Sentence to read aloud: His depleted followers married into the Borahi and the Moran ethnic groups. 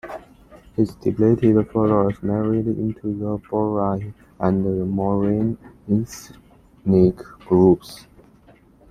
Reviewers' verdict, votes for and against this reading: rejected, 0, 2